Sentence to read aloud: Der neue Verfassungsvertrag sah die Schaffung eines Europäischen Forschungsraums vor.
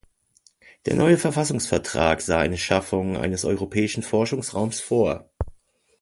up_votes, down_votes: 0, 2